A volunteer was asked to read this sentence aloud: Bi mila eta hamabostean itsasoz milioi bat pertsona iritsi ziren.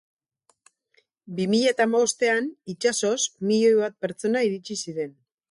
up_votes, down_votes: 2, 2